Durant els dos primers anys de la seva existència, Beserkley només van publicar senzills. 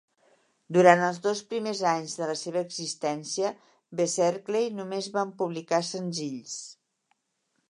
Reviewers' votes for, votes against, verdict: 2, 0, accepted